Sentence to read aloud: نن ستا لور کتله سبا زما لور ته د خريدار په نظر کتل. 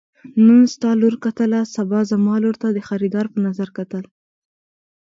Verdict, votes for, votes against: accepted, 2, 1